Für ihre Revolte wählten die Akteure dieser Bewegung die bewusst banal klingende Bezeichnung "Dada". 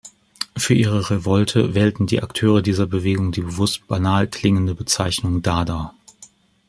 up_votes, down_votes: 2, 0